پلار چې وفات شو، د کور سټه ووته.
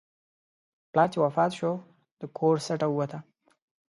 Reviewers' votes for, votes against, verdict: 2, 0, accepted